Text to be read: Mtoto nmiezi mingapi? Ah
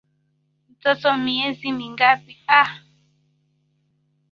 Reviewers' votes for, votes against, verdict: 2, 0, accepted